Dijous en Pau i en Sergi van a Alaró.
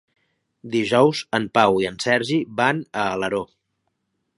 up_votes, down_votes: 3, 0